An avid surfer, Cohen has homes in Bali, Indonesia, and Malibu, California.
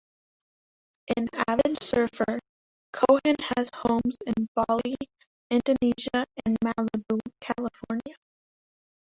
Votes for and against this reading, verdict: 1, 2, rejected